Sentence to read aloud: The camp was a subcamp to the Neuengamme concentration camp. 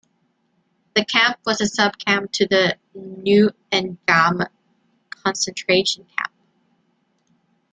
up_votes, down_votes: 2, 0